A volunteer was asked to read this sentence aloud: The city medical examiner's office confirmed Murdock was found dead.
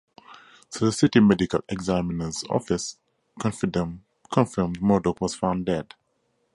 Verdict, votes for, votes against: rejected, 2, 2